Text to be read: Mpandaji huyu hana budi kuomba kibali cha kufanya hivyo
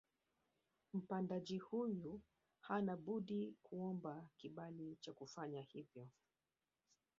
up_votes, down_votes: 1, 2